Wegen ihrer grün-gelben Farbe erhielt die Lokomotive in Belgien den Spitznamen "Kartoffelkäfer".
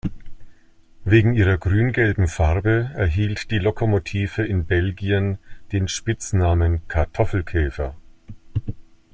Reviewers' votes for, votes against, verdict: 2, 0, accepted